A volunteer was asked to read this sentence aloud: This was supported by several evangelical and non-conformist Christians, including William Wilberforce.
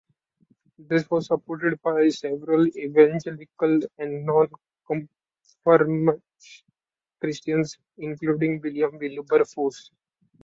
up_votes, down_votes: 1, 2